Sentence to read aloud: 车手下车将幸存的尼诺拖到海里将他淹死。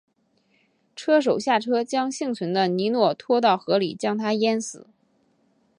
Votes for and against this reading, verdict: 2, 1, accepted